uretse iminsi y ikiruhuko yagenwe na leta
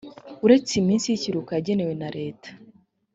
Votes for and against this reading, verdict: 3, 0, accepted